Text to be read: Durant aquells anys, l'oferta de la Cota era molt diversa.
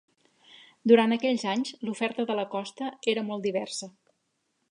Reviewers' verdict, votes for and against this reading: rejected, 1, 2